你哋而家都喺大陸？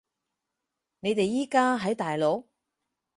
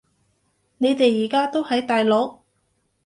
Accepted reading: second